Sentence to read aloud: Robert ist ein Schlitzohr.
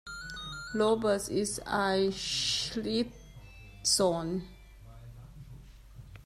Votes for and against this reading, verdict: 1, 2, rejected